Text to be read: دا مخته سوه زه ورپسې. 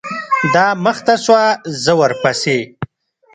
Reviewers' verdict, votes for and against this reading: rejected, 0, 2